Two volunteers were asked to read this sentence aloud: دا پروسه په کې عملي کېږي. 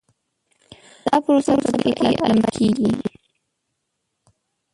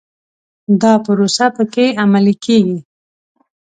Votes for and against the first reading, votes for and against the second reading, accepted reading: 1, 2, 2, 0, second